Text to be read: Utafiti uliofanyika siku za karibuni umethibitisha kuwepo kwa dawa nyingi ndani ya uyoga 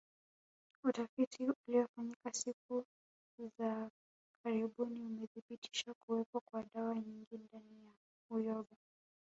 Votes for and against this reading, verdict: 0, 2, rejected